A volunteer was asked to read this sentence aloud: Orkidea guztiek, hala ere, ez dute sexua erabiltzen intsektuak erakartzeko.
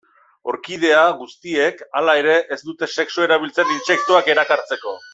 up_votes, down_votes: 1, 2